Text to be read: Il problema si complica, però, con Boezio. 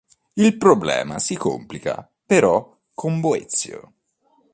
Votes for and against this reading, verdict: 2, 0, accepted